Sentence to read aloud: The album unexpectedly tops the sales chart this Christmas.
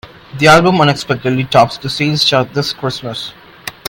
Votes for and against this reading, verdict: 2, 0, accepted